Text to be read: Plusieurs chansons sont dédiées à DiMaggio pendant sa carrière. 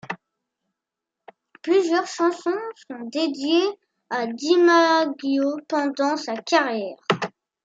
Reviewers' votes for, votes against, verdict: 1, 2, rejected